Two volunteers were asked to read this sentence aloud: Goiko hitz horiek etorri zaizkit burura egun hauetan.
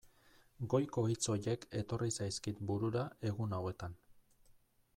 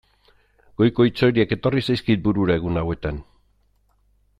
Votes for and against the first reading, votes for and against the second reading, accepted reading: 1, 2, 2, 0, second